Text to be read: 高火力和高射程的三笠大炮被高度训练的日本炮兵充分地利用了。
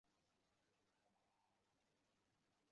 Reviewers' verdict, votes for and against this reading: rejected, 0, 2